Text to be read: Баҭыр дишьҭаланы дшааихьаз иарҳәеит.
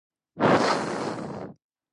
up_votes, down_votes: 0, 2